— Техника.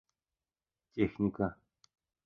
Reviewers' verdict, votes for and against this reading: rejected, 0, 2